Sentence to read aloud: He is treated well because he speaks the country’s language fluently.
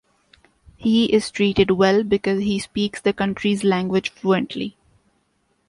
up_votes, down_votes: 2, 0